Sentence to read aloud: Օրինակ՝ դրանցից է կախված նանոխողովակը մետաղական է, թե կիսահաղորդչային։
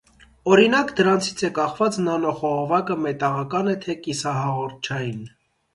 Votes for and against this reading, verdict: 2, 0, accepted